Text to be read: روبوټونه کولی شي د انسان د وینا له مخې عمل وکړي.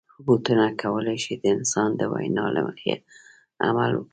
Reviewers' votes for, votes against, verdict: 1, 2, rejected